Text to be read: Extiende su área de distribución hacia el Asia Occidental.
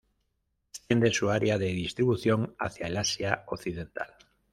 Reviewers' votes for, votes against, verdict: 1, 2, rejected